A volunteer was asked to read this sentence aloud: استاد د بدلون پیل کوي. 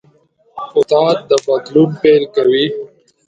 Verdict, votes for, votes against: rejected, 1, 2